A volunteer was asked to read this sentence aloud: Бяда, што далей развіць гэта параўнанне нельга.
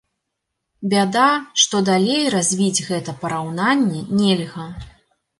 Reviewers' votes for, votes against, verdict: 2, 0, accepted